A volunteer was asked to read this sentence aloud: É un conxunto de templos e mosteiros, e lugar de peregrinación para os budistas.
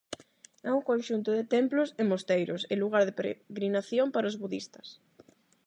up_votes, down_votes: 0, 8